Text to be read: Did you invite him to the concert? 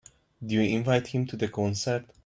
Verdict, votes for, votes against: rejected, 0, 2